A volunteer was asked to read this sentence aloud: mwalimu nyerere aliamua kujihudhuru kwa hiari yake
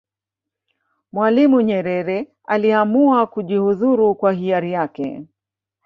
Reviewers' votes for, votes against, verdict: 1, 2, rejected